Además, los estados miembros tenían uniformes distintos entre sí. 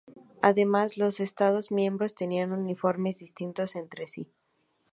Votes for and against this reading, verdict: 2, 0, accepted